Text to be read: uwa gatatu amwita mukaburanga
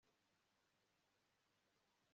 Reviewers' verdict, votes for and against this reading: rejected, 1, 2